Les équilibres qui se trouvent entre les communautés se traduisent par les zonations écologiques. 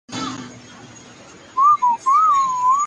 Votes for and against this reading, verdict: 0, 2, rejected